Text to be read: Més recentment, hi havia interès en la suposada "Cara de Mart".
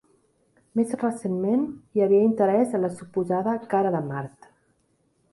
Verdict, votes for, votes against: accepted, 2, 0